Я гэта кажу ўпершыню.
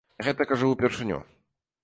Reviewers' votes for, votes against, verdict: 2, 0, accepted